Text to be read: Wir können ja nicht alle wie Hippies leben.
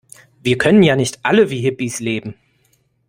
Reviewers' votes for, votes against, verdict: 2, 0, accepted